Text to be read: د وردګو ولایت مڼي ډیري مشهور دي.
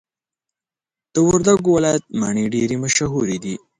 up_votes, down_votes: 2, 0